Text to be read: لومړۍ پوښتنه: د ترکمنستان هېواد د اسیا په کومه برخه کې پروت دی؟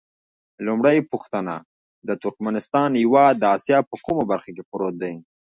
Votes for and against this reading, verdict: 1, 2, rejected